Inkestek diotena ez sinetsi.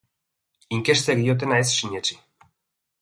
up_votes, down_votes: 2, 0